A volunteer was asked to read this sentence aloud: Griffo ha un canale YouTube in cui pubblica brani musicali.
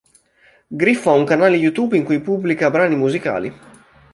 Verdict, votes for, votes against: accepted, 2, 0